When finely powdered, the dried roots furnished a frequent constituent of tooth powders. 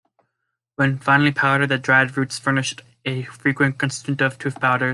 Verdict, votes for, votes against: rejected, 0, 2